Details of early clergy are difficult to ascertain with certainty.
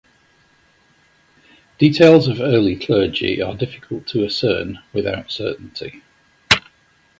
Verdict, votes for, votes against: rejected, 0, 2